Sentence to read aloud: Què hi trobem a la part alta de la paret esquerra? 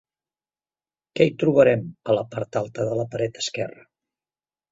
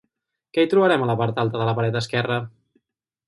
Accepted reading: second